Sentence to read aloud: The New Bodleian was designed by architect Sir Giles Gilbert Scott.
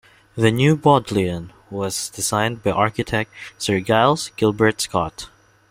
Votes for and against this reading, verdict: 2, 0, accepted